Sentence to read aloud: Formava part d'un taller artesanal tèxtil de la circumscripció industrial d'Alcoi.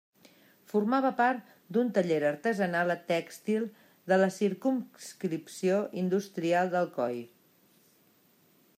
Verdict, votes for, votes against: rejected, 0, 2